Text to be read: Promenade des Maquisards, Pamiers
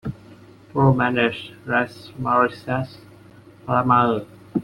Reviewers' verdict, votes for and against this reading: rejected, 0, 2